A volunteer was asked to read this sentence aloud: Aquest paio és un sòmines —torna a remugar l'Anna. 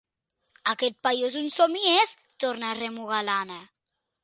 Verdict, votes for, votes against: rejected, 0, 2